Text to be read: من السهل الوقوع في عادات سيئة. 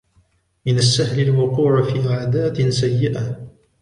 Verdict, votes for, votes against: rejected, 1, 2